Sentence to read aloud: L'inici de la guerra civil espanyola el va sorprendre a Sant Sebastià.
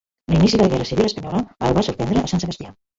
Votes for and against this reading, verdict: 0, 2, rejected